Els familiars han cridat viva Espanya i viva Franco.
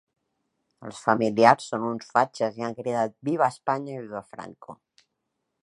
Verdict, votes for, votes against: rejected, 0, 2